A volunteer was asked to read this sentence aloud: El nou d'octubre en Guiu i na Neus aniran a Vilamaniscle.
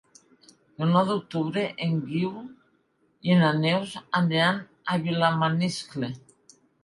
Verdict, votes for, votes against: accepted, 3, 0